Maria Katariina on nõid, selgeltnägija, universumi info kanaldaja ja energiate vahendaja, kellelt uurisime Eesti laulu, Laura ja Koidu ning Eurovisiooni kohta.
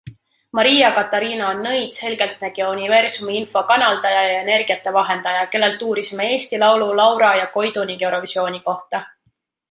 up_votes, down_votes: 2, 0